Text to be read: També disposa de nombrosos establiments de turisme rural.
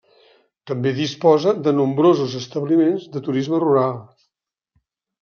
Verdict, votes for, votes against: accepted, 3, 0